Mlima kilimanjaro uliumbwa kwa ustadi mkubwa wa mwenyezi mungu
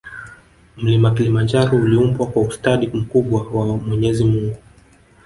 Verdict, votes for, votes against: accepted, 2, 0